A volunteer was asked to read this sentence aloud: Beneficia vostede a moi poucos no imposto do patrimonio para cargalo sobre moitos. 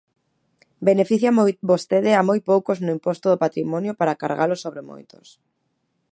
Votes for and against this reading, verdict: 0, 2, rejected